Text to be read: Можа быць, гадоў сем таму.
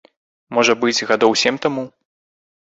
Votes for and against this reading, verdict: 2, 0, accepted